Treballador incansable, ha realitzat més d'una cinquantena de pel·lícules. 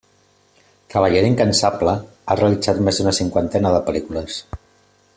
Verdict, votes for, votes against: accepted, 2, 0